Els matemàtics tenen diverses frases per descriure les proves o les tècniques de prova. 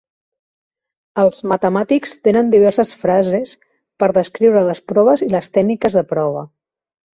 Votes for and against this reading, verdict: 0, 2, rejected